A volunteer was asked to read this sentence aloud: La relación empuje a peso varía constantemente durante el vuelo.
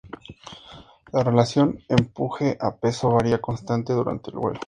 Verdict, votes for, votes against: accepted, 2, 0